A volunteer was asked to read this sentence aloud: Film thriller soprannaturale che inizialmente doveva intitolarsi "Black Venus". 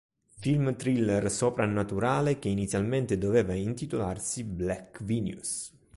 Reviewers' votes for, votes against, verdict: 3, 0, accepted